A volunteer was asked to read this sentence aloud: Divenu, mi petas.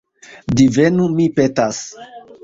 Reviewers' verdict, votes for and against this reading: rejected, 1, 2